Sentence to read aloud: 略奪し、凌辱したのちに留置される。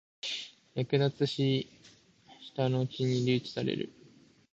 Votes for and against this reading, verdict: 1, 2, rejected